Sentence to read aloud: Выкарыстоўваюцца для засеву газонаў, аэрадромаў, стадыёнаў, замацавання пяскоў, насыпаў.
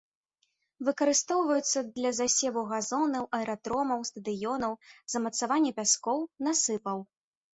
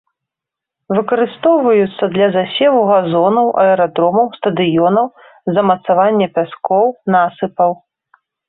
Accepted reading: second